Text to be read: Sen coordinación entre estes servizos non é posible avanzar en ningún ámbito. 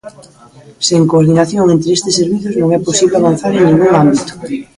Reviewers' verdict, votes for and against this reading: rejected, 0, 2